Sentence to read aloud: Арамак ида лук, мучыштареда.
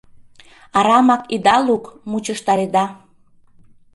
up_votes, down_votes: 2, 0